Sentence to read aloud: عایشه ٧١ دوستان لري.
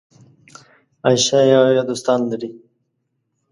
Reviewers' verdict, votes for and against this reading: rejected, 0, 2